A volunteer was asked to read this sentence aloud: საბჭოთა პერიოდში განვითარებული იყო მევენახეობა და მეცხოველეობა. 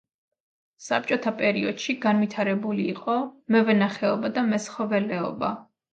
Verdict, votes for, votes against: rejected, 1, 2